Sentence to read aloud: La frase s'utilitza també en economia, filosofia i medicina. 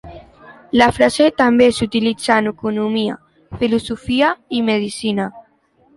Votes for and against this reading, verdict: 0, 2, rejected